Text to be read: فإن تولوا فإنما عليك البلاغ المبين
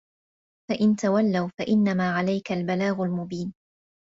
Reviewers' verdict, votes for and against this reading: accepted, 2, 0